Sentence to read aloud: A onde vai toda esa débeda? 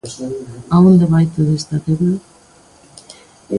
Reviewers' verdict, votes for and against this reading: rejected, 0, 2